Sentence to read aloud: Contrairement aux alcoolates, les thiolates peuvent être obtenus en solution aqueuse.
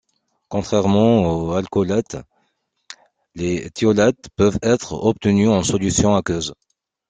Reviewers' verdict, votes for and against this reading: rejected, 1, 2